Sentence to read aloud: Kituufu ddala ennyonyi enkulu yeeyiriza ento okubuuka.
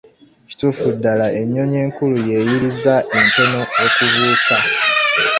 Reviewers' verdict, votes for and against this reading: rejected, 0, 2